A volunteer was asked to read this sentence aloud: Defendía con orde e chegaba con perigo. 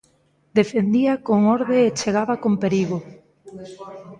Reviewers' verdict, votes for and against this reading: accepted, 2, 0